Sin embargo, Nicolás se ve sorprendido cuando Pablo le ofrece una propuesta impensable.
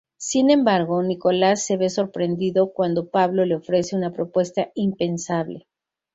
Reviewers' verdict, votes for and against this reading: accepted, 6, 0